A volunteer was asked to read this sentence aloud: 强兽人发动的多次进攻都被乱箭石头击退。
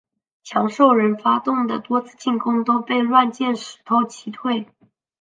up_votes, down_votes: 3, 0